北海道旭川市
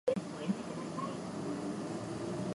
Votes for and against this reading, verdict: 2, 11, rejected